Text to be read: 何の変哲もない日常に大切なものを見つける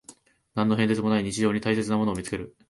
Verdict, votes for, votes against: rejected, 1, 2